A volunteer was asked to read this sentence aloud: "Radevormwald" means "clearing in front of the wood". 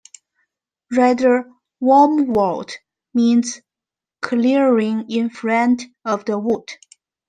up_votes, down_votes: 2, 1